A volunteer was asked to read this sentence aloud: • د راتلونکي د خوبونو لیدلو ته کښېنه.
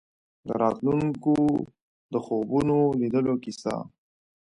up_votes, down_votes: 0, 2